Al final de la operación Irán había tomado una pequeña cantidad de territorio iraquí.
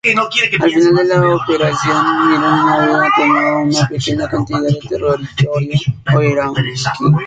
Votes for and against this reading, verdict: 0, 2, rejected